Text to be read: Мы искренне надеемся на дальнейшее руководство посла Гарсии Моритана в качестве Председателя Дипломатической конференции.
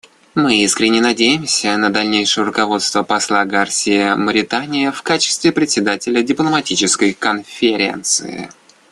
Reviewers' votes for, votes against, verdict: 0, 2, rejected